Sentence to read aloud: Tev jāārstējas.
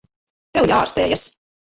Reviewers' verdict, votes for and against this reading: rejected, 0, 2